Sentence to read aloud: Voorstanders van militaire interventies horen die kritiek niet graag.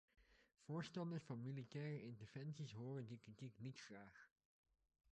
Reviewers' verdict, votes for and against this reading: rejected, 0, 2